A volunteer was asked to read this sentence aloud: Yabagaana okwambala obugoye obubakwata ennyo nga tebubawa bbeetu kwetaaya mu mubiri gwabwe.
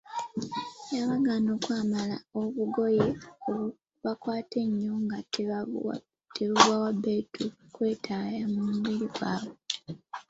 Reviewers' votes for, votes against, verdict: 0, 2, rejected